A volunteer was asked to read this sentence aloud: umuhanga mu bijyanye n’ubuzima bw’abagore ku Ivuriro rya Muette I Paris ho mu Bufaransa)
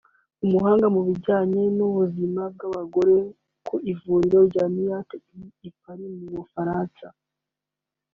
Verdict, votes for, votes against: accepted, 2, 0